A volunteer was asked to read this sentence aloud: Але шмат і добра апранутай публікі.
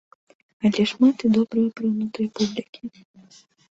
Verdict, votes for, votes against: rejected, 0, 2